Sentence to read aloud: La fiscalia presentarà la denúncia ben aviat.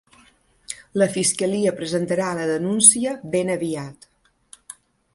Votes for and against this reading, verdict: 3, 0, accepted